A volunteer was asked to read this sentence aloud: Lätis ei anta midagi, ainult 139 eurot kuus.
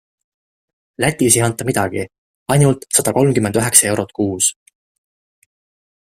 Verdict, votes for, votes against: rejected, 0, 2